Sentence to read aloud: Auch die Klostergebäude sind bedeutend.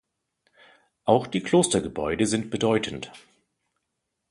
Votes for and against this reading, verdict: 2, 0, accepted